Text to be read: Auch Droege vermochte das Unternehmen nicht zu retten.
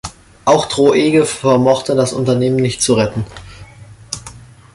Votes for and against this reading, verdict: 0, 2, rejected